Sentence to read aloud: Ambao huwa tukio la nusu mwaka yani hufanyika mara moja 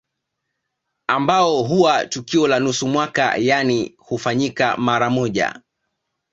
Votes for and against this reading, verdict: 2, 0, accepted